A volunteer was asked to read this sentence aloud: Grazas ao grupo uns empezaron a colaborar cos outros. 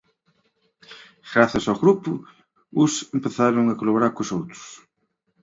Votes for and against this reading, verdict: 2, 1, accepted